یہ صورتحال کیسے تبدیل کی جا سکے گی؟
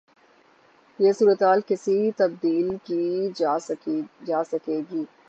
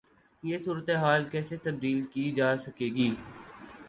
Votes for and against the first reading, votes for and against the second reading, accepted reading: 0, 3, 8, 0, second